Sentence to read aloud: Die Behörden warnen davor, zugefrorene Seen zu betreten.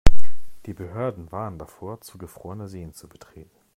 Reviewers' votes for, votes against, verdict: 2, 0, accepted